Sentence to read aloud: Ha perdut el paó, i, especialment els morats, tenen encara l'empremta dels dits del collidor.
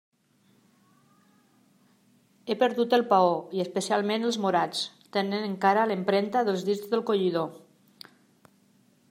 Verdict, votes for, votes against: rejected, 0, 2